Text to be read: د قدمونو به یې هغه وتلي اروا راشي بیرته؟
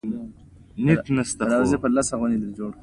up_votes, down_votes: 3, 0